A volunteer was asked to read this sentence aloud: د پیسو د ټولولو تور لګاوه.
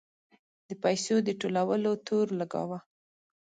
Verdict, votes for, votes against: accepted, 2, 0